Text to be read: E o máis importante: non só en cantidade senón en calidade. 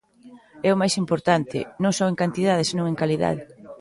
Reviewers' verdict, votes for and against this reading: accepted, 2, 0